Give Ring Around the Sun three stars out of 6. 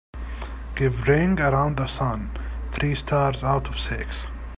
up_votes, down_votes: 0, 2